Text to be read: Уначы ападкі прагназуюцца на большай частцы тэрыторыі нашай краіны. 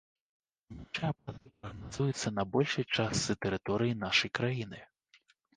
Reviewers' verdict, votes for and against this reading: rejected, 0, 2